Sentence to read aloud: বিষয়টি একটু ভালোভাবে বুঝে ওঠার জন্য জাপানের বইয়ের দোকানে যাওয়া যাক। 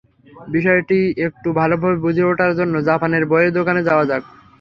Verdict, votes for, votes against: accepted, 3, 0